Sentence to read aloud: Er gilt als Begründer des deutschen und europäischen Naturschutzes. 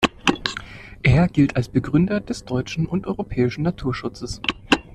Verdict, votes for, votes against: accepted, 2, 0